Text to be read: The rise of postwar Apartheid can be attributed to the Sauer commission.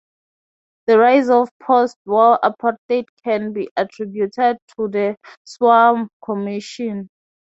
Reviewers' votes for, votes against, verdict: 0, 3, rejected